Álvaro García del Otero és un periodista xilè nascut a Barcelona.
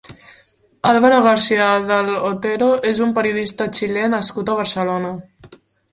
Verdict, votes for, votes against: accepted, 2, 1